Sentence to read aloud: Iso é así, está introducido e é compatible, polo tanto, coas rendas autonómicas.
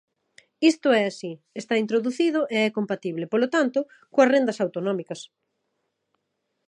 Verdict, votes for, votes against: rejected, 0, 2